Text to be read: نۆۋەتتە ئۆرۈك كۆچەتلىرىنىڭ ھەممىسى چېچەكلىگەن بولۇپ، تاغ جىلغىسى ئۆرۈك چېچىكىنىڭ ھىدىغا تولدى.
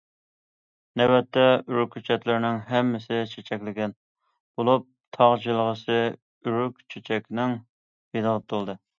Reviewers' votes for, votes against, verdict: 0, 2, rejected